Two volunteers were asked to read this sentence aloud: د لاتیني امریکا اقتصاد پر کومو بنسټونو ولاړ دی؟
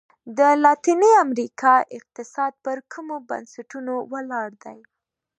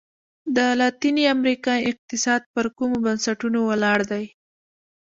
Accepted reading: first